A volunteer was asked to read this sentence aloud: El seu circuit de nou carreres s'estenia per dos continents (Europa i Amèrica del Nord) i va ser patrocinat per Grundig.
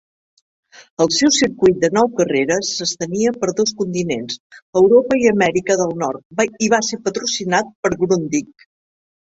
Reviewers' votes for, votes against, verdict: 0, 2, rejected